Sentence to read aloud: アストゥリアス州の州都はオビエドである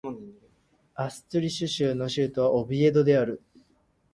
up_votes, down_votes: 0, 4